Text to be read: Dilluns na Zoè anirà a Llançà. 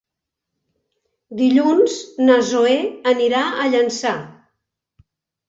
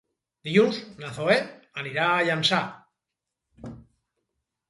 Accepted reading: first